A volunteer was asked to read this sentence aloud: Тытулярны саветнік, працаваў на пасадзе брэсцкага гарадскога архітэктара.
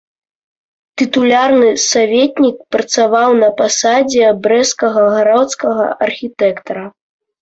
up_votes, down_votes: 1, 2